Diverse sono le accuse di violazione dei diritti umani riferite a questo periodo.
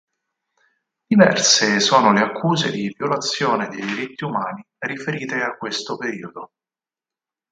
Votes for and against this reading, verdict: 4, 2, accepted